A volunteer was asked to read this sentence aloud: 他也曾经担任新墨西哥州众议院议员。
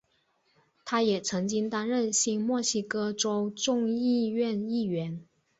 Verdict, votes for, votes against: accepted, 2, 0